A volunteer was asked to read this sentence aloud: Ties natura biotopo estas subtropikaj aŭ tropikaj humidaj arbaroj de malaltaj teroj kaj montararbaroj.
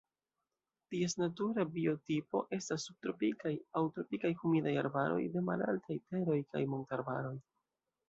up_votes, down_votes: 2, 0